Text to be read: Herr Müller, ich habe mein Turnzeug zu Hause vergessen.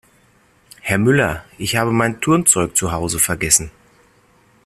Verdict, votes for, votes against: accepted, 2, 0